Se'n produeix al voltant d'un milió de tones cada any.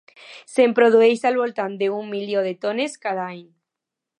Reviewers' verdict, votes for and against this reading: accepted, 2, 0